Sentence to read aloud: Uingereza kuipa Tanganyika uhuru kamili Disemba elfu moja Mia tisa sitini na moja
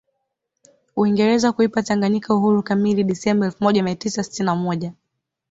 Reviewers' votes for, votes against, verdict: 2, 1, accepted